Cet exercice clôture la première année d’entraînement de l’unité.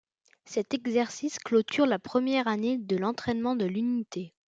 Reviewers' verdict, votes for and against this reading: rejected, 0, 3